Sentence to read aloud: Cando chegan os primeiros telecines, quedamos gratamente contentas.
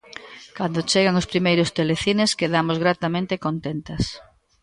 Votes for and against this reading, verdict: 2, 1, accepted